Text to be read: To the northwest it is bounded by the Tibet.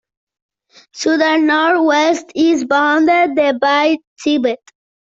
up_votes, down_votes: 0, 2